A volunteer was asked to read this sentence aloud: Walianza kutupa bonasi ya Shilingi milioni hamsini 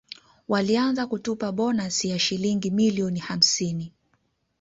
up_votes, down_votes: 2, 1